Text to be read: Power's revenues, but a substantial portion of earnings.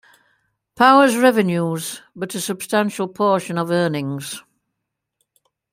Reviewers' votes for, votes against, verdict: 2, 0, accepted